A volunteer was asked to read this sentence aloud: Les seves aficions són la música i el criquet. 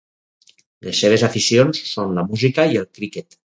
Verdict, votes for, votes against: accepted, 2, 0